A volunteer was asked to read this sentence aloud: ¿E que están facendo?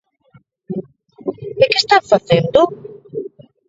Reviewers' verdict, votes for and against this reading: rejected, 2, 3